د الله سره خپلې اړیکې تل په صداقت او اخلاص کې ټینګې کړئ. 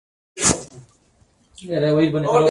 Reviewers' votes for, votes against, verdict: 0, 6, rejected